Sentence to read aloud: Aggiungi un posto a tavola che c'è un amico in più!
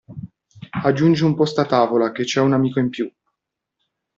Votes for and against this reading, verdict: 2, 0, accepted